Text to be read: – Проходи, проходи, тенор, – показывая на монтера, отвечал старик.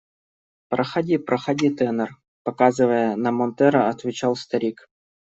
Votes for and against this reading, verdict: 1, 2, rejected